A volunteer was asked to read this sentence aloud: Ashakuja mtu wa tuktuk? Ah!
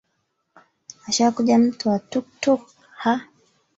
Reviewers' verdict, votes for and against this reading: accepted, 3, 1